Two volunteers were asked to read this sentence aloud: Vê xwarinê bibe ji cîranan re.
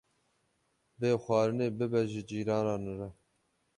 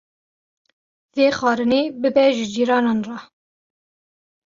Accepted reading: second